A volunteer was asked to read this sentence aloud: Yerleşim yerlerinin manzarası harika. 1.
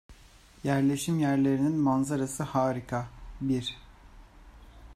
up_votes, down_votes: 0, 2